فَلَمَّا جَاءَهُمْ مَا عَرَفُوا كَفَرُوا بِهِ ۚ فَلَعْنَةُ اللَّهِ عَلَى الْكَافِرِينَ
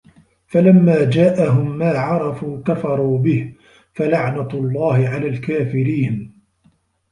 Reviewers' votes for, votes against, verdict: 0, 2, rejected